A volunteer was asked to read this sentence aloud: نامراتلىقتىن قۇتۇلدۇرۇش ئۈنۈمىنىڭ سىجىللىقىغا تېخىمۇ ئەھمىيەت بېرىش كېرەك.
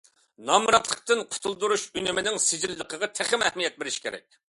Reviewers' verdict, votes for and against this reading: accepted, 2, 0